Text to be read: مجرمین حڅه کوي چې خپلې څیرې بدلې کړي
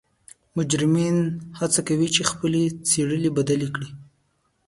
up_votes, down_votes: 1, 2